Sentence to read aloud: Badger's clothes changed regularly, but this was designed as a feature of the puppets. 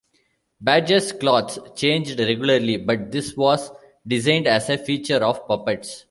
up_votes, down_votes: 0, 2